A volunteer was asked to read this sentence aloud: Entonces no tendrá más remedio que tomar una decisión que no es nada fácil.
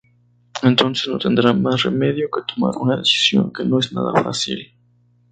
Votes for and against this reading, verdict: 0, 2, rejected